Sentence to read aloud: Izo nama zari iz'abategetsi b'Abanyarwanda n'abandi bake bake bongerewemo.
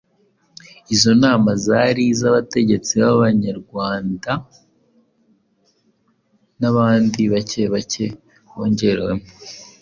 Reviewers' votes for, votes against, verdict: 2, 0, accepted